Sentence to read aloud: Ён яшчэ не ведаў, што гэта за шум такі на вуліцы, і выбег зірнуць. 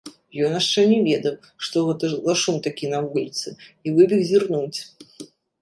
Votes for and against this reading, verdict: 2, 0, accepted